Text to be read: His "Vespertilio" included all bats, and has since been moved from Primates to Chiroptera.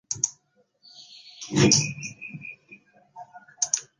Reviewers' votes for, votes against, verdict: 0, 2, rejected